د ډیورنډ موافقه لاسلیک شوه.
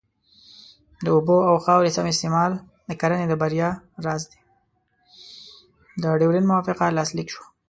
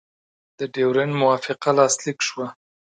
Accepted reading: second